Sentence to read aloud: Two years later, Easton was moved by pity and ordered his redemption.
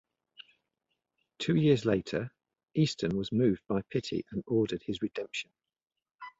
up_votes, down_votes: 2, 0